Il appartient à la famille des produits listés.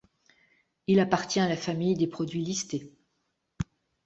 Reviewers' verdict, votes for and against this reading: accepted, 3, 0